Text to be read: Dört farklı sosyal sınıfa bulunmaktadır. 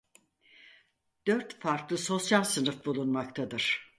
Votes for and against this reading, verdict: 0, 4, rejected